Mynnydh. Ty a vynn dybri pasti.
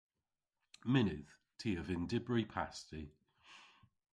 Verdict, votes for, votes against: rejected, 0, 2